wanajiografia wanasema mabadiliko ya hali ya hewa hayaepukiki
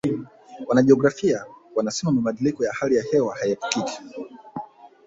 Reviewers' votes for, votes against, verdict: 1, 2, rejected